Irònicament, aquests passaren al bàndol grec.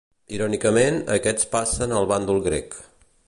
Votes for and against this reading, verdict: 0, 2, rejected